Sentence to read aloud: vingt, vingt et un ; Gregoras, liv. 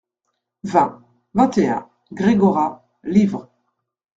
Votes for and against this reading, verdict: 0, 2, rejected